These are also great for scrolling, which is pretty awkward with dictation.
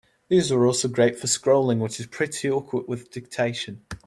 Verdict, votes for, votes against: accepted, 2, 1